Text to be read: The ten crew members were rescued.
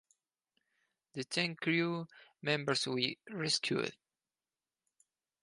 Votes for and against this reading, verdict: 0, 4, rejected